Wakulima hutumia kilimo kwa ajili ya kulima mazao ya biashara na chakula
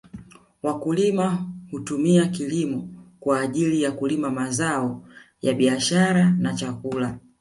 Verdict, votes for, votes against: accepted, 2, 1